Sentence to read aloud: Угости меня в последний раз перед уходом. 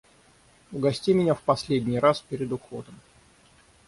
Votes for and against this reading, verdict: 3, 3, rejected